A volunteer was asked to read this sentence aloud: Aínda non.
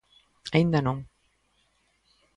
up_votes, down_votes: 2, 0